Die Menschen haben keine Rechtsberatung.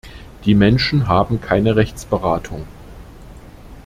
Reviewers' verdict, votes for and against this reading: accepted, 2, 0